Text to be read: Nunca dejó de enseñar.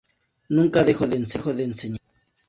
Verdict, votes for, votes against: rejected, 0, 2